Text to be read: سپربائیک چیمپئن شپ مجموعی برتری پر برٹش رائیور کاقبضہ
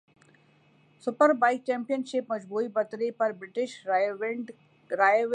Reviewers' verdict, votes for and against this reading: rejected, 0, 2